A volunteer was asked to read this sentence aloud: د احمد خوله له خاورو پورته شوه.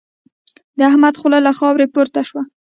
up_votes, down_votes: 0, 2